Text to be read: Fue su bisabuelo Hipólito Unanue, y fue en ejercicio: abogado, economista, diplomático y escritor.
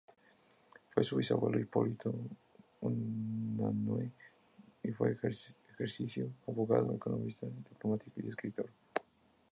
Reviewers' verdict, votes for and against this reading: rejected, 0, 2